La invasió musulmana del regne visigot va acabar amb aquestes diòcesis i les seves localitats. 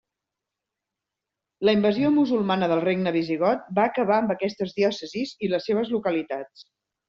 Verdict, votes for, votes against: accepted, 2, 0